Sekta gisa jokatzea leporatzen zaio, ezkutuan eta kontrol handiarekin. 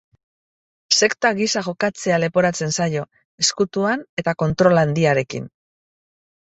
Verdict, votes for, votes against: accepted, 2, 0